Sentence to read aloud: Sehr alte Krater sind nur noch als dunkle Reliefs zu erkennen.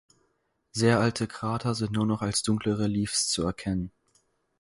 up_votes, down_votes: 2, 4